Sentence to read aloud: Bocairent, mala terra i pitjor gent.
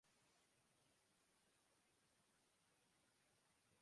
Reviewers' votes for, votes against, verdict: 1, 2, rejected